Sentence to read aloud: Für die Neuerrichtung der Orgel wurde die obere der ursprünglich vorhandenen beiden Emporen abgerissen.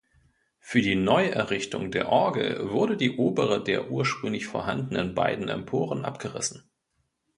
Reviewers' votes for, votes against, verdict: 2, 0, accepted